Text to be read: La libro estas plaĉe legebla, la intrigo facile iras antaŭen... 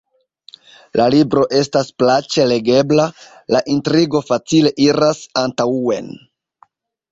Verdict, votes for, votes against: accepted, 2, 0